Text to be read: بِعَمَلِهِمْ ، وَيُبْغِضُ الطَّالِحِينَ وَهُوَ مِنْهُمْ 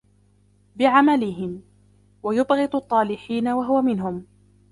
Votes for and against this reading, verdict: 2, 1, accepted